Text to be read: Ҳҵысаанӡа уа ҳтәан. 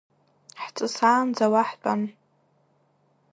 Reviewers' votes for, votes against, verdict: 1, 2, rejected